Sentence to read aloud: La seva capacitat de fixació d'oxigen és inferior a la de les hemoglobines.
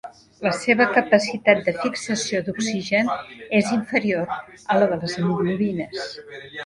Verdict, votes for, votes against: rejected, 1, 2